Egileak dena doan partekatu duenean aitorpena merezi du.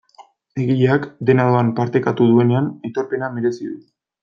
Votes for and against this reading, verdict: 2, 0, accepted